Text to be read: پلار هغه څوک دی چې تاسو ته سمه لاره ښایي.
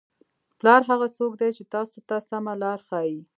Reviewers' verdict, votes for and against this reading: rejected, 1, 2